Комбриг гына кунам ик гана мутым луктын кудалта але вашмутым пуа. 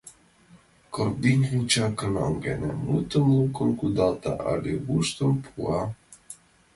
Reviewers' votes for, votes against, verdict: 0, 2, rejected